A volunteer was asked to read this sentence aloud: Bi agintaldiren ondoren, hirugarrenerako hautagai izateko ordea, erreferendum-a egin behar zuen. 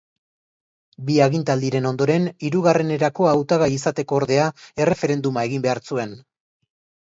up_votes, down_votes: 2, 0